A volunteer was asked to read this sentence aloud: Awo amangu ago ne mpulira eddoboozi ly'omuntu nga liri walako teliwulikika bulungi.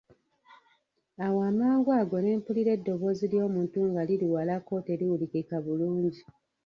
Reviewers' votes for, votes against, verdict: 0, 2, rejected